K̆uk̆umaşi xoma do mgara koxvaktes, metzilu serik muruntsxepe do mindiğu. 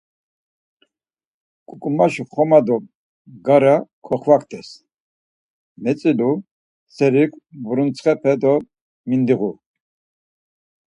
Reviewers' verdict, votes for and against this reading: accepted, 4, 0